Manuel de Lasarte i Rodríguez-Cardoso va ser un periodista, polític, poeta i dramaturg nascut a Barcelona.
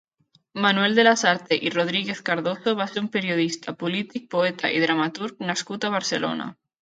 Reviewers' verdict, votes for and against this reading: rejected, 0, 2